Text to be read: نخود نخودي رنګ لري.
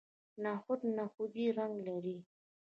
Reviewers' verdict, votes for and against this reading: accepted, 2, 0